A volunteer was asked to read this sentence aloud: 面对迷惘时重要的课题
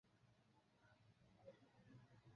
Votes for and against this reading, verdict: 0, 5, rejected